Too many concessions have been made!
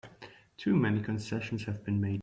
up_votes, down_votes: 1, 3